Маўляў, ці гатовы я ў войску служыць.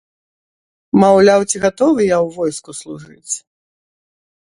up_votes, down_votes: 2, 0